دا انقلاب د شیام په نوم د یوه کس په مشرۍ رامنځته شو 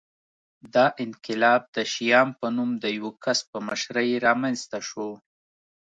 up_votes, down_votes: 2, 0